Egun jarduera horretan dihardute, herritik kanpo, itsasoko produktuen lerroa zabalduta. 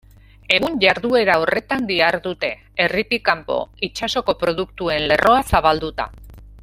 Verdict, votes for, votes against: rejected, 0, 2